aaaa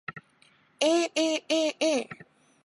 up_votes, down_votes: 6, 0